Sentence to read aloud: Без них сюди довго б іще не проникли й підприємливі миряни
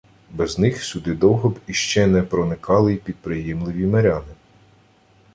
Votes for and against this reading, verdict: 0, 2, rejected